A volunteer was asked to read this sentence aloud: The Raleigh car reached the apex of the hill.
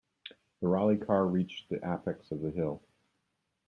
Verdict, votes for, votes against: rejected, 0, 2